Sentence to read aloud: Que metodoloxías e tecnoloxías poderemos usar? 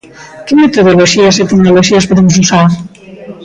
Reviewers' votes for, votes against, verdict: 0, 2, rejected